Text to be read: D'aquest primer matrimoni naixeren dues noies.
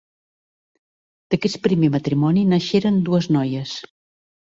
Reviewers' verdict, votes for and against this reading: accepted, 3, 0